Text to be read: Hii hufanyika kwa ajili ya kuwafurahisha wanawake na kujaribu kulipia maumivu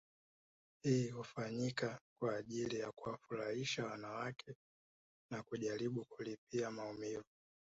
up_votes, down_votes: 0, 2